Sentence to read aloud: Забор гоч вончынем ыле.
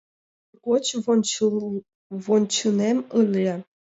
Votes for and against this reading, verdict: 0, 2, rejected